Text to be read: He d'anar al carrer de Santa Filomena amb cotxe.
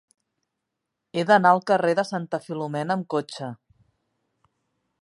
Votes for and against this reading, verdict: 3, 0, accepted